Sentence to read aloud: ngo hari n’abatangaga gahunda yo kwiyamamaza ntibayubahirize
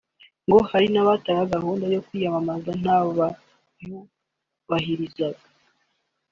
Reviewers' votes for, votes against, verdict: 3, 0, accepted